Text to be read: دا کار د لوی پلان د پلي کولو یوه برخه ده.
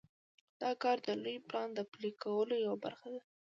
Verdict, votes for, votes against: accepted, 2, 0